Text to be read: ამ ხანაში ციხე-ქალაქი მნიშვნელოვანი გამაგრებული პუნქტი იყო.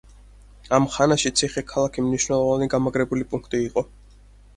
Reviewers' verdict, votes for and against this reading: accepted, 4, 0